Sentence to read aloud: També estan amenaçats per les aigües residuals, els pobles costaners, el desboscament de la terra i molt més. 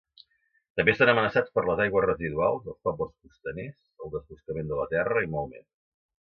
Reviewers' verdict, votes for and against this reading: accepted, 2, 1